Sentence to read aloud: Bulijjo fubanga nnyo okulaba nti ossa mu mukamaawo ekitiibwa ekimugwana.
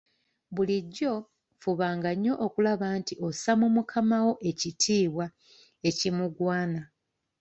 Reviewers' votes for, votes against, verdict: 2, 0, accepted